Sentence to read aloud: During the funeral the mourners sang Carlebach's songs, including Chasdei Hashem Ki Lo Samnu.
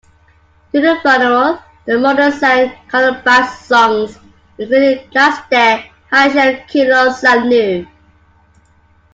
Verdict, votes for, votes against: rejected, 0, 2